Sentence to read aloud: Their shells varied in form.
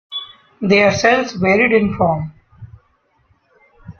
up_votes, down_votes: 2, 1